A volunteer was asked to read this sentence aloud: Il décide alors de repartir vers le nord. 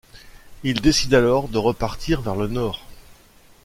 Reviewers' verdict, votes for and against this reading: accepted, 2, 0